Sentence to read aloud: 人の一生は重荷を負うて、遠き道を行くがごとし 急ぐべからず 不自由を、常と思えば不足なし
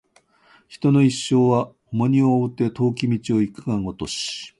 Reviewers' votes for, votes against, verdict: 1, 2, rejected